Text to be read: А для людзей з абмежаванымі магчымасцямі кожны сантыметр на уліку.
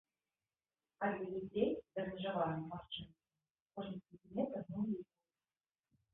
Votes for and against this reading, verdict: 1, 2, rejected